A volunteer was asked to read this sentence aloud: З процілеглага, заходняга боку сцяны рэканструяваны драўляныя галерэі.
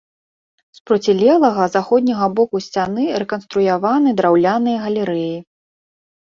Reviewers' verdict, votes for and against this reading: accepted, 2, 0